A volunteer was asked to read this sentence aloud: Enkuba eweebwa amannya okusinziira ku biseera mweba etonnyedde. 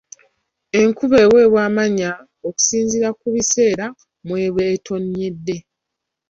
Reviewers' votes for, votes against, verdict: 2, 0, accepted